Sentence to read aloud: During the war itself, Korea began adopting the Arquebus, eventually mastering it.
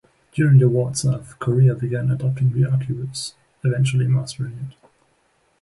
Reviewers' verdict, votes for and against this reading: accepted, 2, 0